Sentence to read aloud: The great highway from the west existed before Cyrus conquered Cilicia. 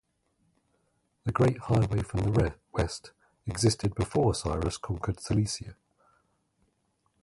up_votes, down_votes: 0, 2